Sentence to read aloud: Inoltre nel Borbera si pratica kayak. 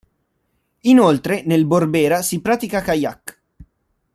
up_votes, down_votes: 2, 0